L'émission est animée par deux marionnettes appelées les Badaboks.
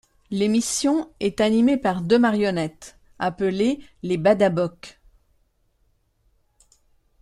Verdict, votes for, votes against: accepted, 2, 0